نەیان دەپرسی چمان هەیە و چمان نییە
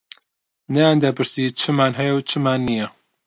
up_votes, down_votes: 2, 0